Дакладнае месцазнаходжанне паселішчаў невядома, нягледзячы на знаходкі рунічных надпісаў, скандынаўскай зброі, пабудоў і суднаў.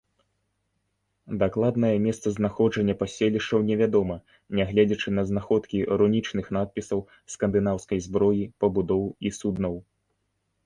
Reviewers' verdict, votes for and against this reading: accepted, 2, 0